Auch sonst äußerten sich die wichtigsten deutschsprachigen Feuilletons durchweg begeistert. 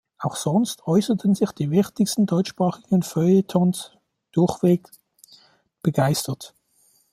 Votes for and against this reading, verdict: 2, 0, accepted